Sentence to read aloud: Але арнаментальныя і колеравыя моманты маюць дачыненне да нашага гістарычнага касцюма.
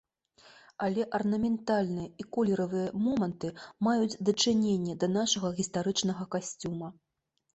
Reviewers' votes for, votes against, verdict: 0, 2, rejected